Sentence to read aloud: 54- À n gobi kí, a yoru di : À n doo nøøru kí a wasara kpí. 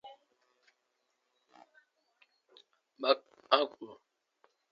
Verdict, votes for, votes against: rejected, 0, 2